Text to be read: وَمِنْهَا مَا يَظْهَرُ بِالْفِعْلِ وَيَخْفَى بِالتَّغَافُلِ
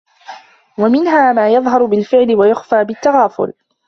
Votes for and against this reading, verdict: 1, 2, rejected